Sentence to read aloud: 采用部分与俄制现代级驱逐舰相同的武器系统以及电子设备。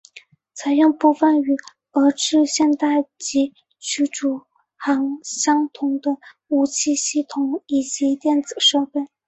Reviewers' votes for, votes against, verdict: 1, 2, rejected